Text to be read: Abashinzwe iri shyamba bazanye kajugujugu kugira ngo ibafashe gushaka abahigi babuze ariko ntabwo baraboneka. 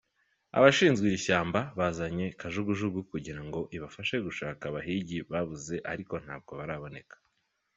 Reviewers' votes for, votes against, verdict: 2, 0, accepted